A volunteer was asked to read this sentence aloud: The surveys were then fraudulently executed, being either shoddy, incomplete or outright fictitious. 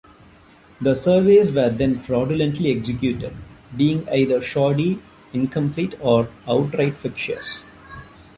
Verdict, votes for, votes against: accepted, 2, 0